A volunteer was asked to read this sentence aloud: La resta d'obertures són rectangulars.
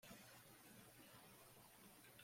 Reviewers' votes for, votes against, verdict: 0, 2, rejected